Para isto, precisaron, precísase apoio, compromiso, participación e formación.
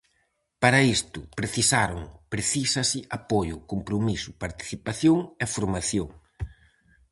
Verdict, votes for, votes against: accepted, 4, 0